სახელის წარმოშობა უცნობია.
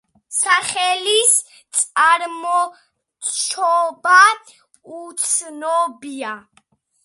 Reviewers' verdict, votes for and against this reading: accepted, 2, 0